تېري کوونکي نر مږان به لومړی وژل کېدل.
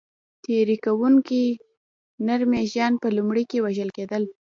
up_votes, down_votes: 2, 1